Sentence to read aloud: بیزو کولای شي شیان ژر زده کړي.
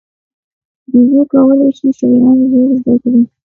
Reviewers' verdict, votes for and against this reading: rejected, 1, 2